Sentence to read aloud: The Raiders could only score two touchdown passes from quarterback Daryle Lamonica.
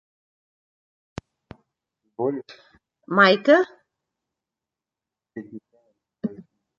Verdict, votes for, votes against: rejected, 0, 2